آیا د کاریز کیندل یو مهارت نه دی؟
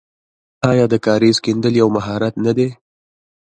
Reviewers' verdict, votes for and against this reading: accepted, 2, 1